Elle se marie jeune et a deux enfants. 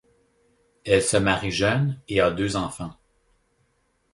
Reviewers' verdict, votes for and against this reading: accepted, 2, 0